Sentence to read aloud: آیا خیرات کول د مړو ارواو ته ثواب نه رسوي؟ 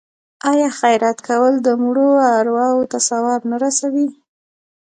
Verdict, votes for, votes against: rejected, 0, 2